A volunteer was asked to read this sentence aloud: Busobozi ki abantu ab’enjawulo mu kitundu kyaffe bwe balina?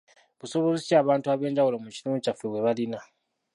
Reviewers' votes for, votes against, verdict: 0, 2, rejected